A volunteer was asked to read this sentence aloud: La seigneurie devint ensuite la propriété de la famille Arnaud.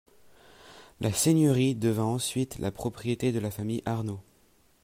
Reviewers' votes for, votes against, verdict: 2, 1, accepted